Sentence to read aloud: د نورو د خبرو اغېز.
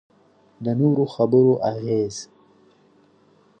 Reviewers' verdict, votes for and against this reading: rejected, 1, 2